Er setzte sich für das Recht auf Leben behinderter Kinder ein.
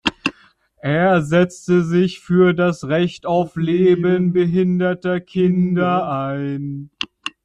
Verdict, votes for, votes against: rejected, 0, 2